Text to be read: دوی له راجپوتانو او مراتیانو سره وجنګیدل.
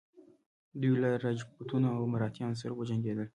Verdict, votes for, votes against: rejected, 1, 2